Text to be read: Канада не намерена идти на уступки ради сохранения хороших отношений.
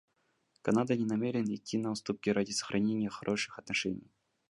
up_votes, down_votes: 2, 0